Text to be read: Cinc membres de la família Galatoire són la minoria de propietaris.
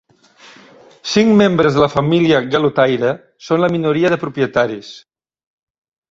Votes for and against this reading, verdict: 0, 2, rejected